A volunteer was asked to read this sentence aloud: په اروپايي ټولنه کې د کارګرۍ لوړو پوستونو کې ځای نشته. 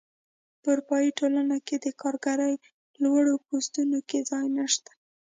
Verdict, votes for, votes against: accepted, 2, 0